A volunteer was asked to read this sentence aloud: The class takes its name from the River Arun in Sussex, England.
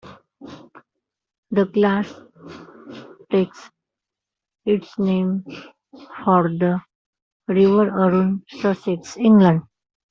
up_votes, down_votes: 0, 2